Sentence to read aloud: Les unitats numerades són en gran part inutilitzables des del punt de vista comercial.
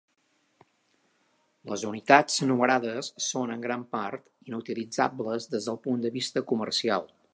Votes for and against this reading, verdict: 2, 0, accepted